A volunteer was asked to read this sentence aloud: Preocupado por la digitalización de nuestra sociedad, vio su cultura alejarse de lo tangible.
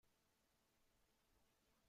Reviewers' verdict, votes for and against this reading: rejected, 0, 2